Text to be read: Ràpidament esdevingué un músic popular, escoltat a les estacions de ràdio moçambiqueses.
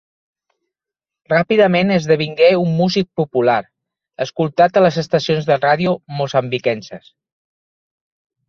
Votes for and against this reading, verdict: 1, 2, rejected